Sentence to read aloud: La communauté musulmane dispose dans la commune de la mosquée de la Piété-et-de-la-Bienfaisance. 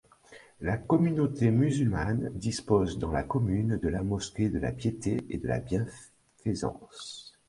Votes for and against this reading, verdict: 1, 2, rejected